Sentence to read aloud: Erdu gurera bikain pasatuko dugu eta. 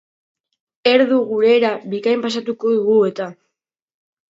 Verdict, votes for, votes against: accepted, 3, 0